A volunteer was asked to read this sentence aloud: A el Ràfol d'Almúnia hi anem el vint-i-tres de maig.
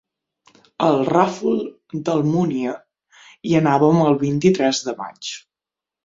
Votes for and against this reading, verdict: 3, 6, rejected